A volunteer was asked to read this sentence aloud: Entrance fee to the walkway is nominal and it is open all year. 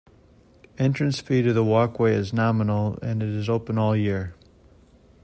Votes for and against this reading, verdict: 2, 0, accepted